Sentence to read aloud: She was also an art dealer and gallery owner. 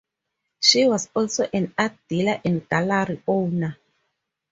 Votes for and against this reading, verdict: 4, 0, accepted